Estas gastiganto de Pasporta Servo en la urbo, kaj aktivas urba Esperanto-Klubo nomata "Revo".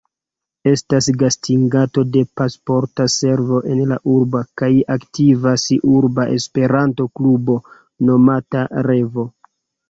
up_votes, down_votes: 0, 2